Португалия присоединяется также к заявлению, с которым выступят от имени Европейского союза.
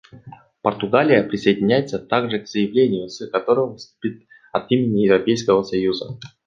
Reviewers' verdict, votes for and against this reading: rejected, 1, 2